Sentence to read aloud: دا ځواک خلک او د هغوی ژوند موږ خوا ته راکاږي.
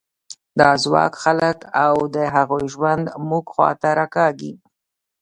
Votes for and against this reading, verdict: 2, 0, accepted